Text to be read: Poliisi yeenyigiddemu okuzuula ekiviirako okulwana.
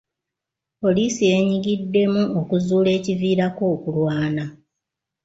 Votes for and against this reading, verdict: 2, 0, accepted